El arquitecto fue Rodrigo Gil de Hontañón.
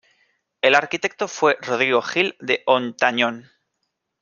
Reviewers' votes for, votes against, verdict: 2, 0, accepted